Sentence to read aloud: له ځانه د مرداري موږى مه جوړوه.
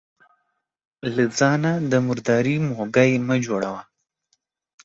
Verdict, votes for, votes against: accepted, 2, 1